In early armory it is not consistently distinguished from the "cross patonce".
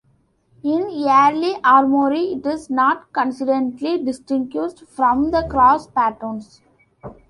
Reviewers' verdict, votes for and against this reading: rejected, 0, 2